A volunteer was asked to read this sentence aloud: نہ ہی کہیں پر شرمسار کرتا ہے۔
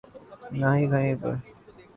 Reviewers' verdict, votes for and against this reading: rejected, 0, 2